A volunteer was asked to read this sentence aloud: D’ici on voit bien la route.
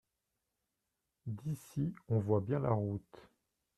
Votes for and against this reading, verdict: 2, 0, accepted